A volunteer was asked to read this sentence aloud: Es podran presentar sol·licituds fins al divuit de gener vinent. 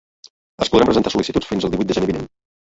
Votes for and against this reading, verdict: 2, 1, accepted